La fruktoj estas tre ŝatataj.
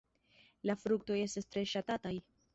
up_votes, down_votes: 2, 0